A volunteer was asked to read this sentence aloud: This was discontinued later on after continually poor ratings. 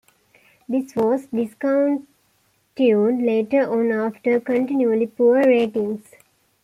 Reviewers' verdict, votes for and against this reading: rejected, 1, 2